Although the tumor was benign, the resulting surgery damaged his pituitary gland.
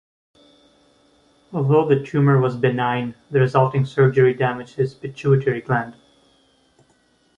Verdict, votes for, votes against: accepted, 2, 1